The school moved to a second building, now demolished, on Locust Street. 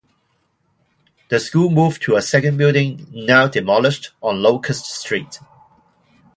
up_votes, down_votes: 2, 0